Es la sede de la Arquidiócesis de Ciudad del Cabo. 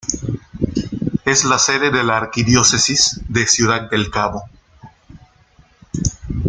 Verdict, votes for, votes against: rejected, 1, 2